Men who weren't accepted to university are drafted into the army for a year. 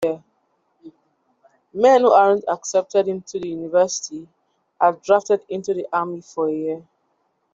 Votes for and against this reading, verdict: 0, 2, rejected